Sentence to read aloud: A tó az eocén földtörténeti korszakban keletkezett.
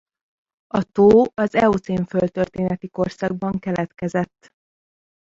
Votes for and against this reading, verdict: 2, 0, accepted